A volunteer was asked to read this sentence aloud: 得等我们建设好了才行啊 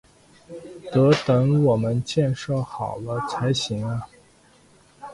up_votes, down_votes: 0, 3